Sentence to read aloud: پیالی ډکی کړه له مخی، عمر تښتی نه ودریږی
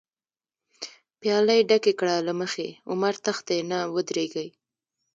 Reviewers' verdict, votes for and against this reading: accepted, 2, 0